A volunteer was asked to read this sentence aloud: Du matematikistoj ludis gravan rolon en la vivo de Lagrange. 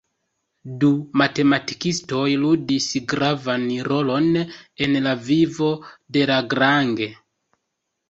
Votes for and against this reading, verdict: 0, 2, rejected